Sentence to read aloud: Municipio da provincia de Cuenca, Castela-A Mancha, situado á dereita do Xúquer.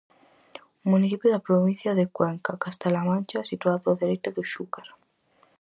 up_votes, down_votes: 4, 0